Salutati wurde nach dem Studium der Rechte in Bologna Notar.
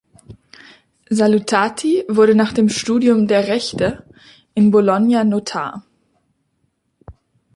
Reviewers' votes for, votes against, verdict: 2, 0, accepted